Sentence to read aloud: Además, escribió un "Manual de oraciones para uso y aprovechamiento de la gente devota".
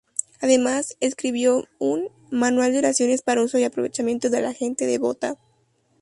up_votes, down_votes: 2, 0